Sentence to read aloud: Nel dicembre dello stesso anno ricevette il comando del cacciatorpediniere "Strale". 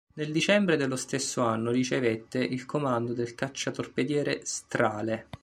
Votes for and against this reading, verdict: 0, 2, rejected